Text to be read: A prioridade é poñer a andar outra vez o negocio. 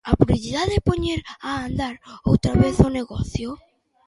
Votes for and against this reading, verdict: 1, 2, rejected